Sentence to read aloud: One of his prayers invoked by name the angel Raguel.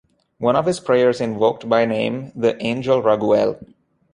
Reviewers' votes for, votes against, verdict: 2, 0, accepted